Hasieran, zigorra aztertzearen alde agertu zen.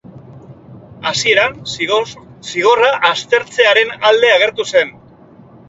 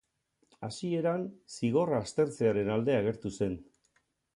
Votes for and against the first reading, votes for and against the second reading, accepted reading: 0, 2, 4, 0, second